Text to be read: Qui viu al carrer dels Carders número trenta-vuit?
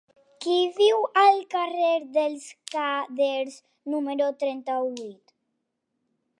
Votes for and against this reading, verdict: 1, 2, rejected